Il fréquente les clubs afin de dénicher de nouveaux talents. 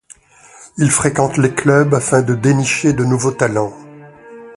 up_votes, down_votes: 2, 0